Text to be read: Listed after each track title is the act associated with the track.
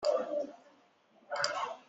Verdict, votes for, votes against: rejected, 0, 2